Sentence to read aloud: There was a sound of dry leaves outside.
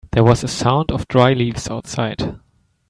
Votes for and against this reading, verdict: 2, 0, accepted